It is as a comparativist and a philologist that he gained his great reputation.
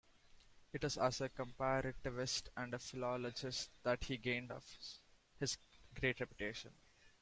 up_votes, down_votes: 0, 2